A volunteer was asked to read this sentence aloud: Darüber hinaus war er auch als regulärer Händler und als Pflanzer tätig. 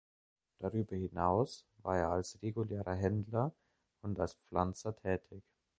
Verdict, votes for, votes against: rejected, 0, 2